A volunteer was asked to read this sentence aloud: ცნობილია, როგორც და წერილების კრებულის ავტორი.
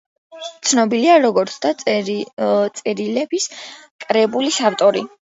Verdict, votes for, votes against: rejected, 0, 2